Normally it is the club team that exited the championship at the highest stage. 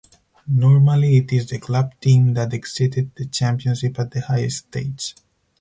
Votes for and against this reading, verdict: 2, 2, rejected